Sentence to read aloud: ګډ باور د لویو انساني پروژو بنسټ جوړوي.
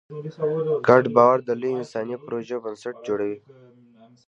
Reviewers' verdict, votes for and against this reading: rejected, 1, 2